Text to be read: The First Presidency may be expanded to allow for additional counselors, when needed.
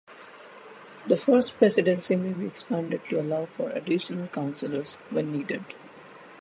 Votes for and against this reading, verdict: 2, 0, accepted